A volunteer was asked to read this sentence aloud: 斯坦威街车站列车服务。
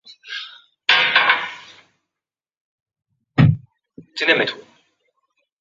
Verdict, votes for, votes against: rejected, 0, 2